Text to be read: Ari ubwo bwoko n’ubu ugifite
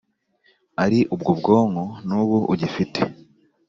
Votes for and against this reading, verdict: 1, 2, rejected